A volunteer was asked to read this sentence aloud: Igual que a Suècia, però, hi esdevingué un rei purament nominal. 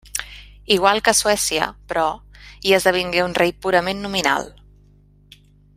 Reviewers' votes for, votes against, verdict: 2, 0, accepted